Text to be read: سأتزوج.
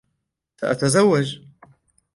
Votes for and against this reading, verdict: 2, 0, accepted